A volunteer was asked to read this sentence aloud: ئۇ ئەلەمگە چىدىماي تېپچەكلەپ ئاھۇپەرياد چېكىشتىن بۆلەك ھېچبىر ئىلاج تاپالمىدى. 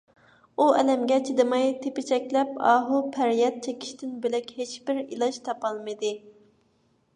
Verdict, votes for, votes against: accepted, 2, 0